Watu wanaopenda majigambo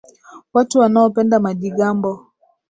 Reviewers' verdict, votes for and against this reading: accepted, 6, 2